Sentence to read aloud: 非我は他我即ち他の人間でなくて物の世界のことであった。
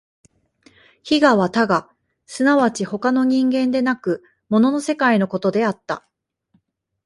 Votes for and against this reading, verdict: 0, 2, rejected